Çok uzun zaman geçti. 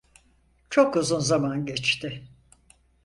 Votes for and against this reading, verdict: 4, 0, accepted